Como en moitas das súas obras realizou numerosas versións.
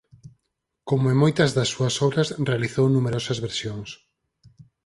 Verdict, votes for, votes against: accepted, 4, 0